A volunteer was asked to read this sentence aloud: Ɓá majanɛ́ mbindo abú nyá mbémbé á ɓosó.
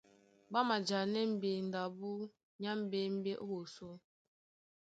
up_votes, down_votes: 1, 2